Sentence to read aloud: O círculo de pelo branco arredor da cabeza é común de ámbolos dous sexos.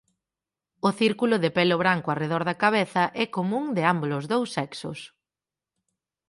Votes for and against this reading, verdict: 6, 0, accepted